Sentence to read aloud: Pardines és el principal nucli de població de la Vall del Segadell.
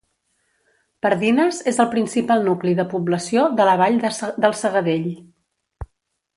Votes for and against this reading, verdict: 0, 2, rejected